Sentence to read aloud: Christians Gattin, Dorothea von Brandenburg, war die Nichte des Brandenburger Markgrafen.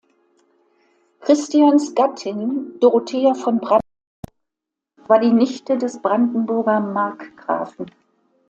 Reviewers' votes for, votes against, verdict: 0, 2, rejected